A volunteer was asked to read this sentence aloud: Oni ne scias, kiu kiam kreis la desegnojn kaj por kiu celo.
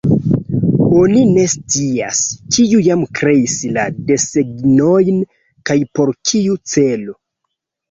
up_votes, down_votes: 1, 2